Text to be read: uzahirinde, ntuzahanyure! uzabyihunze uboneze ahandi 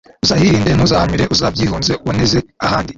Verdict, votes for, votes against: rejected, 1, 2